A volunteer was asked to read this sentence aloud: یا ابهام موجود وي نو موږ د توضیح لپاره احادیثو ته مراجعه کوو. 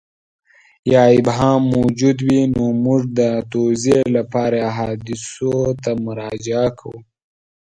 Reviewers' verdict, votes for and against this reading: accepted, 2, 0